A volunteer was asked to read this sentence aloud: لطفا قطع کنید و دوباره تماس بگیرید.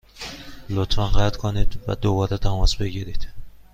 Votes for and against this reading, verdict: 3, 0, accepted